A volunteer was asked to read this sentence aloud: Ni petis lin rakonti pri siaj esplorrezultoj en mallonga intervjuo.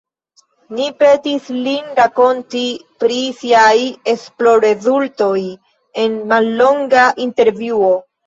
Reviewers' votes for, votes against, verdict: 1, 2, rejected